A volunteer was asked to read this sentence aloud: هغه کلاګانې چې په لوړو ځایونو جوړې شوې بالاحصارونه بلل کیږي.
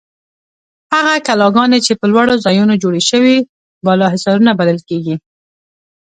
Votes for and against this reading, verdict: 2, 0, accepted